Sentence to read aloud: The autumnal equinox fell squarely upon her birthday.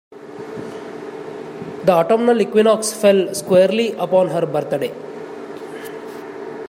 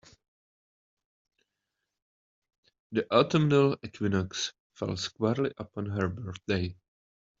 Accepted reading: first